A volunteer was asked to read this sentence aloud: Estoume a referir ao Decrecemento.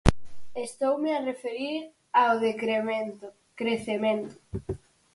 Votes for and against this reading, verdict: 0, 4, rejected